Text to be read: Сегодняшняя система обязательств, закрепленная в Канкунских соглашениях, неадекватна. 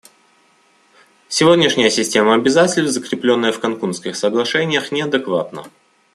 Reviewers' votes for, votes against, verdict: 1, 2, rejected